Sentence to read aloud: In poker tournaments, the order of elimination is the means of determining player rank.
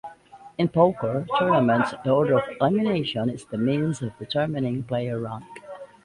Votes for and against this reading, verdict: 1, 2, rejected